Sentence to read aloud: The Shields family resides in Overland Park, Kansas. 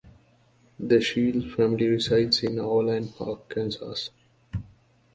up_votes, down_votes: 2, 2